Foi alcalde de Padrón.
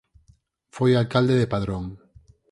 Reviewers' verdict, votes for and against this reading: accepted, 6, 2